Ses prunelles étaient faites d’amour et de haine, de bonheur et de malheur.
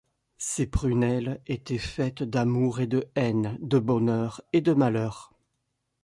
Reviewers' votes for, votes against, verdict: 2, 0, accepted